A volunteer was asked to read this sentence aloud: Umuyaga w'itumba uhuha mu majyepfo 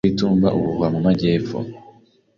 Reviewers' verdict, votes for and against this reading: rejected, 0, 2